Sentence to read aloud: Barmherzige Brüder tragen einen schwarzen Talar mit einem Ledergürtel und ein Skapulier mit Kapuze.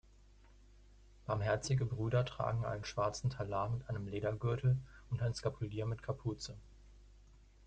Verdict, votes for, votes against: accepted, 2, 0